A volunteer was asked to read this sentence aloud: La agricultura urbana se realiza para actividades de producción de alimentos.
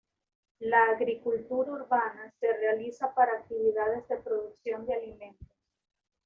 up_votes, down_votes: 2, 0